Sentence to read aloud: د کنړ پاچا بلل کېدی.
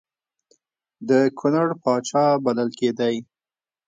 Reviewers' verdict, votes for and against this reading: accepted, 2, 0